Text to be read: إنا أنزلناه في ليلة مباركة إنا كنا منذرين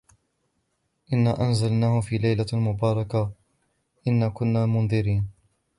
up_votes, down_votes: 2, 0